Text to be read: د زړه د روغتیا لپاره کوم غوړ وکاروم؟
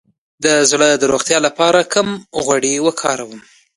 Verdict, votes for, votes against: rejected, 1, 2